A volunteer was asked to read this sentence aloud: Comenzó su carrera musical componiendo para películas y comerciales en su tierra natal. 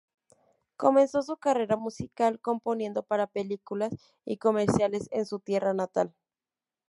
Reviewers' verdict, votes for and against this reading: accepted, 2, 0